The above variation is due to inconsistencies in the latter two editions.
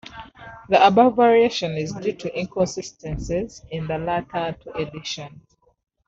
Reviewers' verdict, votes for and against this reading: rejected, 1, 2